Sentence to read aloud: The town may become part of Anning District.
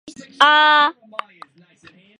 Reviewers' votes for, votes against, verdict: 0, 2, rejected